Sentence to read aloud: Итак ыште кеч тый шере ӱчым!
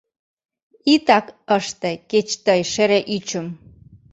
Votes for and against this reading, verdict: 2, 0, accepted